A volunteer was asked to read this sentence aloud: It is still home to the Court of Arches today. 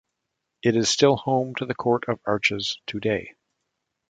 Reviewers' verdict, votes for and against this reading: accepted, 2, 0